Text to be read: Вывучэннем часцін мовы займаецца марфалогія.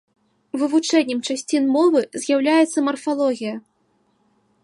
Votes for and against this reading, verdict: 1, 2, rejected